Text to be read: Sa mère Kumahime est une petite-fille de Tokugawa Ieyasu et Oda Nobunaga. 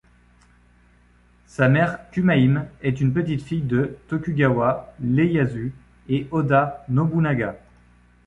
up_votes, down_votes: 1, 2